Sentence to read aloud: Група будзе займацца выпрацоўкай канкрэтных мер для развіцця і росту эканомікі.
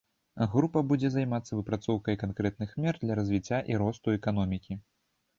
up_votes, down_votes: 2, 0